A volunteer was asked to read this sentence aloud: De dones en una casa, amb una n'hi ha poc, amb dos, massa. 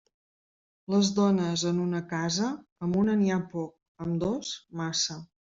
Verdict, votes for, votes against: rejected, 0, 2